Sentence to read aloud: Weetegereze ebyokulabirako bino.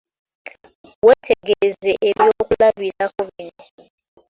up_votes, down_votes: 2, 1